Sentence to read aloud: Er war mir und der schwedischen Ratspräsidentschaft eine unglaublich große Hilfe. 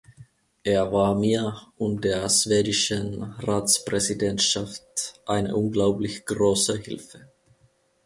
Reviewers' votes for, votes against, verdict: 1, 2, rejected